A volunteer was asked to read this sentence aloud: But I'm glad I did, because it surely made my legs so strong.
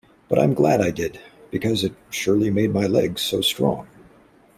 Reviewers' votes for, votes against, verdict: 2, 0, accepted